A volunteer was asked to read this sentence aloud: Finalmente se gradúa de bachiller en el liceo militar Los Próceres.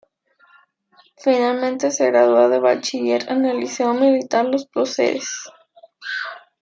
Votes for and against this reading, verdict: 0, 2, rejected